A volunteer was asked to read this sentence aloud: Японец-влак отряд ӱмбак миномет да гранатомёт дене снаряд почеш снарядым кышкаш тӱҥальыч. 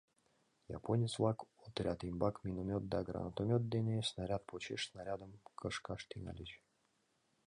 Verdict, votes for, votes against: rejected, 1, 2